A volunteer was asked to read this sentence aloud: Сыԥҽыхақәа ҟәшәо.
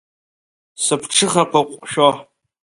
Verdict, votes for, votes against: accepted, 2, 0